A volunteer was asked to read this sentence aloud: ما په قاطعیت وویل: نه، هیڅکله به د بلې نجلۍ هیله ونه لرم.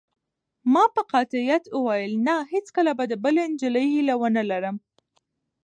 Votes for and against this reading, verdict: 3, 2, accepted